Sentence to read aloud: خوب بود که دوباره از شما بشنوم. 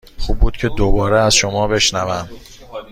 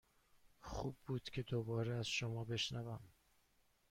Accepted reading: first